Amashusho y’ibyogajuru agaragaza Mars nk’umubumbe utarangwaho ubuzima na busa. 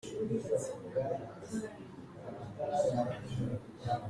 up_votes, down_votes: 0, 2